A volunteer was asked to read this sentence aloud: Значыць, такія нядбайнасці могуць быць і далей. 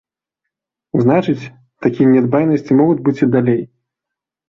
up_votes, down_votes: 2, 0